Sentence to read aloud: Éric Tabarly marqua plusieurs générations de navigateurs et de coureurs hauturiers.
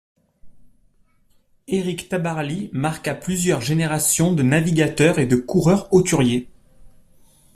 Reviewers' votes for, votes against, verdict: 2, 0, accepted